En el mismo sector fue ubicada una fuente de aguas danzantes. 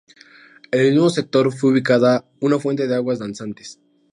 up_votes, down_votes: 2, 0